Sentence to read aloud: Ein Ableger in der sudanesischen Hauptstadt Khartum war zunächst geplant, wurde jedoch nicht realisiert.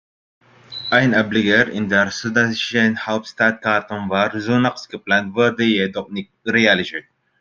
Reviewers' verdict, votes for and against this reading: rejected, 0, 2